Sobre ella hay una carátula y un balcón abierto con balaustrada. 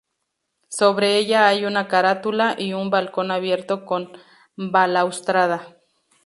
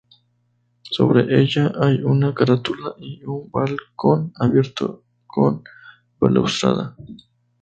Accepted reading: first